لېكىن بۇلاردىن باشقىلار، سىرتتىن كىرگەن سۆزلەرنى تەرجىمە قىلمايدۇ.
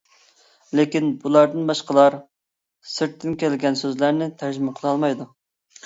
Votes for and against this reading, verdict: 0, 2, rejected